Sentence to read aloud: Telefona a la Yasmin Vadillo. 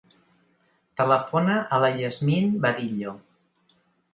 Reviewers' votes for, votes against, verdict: 2, 0, accepted